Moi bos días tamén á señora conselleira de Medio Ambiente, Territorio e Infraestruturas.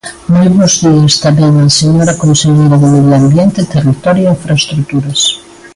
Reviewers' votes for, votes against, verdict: 2, 1, accepted